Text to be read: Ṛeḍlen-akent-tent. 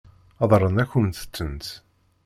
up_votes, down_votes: 0, 2